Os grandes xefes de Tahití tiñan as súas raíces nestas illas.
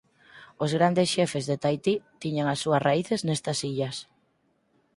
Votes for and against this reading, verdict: 4, 0, accepted